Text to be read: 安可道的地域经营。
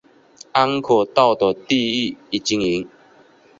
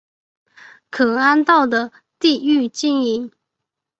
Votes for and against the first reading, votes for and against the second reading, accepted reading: 4, 1, 0, 5, first